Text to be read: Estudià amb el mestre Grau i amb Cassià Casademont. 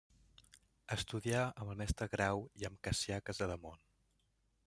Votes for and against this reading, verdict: 0, 2, rejected